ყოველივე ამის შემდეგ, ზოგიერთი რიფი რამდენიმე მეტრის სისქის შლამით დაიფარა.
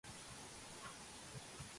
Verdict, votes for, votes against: rejected, 0, 2